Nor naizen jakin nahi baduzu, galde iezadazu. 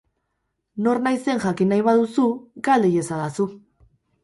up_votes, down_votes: 2, 2